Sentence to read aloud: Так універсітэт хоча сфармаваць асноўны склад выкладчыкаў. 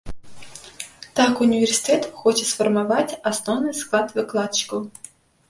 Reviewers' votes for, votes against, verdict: 1, 2, rejected